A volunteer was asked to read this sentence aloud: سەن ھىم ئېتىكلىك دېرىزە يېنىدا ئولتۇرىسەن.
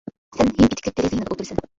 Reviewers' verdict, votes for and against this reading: rejected, 0, 2